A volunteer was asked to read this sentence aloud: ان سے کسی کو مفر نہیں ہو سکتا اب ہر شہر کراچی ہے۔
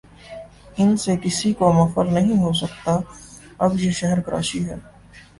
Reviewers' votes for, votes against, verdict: 3, 1, accepted